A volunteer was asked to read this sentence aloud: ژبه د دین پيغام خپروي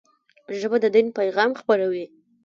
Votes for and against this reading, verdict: 0, 2, rejected